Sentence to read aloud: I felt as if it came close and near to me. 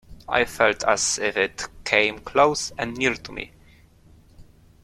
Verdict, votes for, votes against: accepted, 2, 0